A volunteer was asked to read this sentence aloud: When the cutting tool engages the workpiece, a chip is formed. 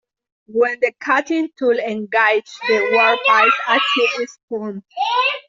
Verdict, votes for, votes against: accepted, 2, 1